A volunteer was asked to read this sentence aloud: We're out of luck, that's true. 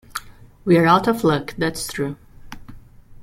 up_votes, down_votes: 2, 1